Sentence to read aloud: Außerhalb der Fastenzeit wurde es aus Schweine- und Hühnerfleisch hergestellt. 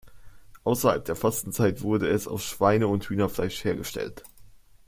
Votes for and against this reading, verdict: 2, 0, accepted